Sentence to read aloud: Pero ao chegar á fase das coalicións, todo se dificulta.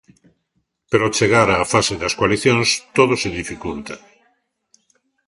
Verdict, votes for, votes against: accepted, 2, 0